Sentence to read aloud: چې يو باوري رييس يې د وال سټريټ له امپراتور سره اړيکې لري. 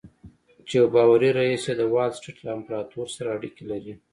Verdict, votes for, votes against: accepted, 2, 0